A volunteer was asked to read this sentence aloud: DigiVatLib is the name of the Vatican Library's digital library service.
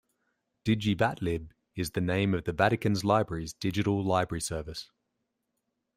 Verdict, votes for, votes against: rejected, 0, 2